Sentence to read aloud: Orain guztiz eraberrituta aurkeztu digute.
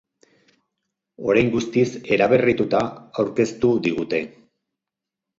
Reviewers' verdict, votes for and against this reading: rejected, 2, 2